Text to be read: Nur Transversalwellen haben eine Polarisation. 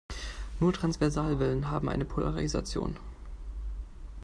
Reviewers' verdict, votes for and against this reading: rejected, 0, 2